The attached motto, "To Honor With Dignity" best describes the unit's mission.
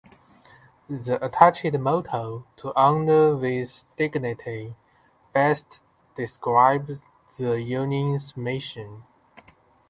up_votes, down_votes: 0, 2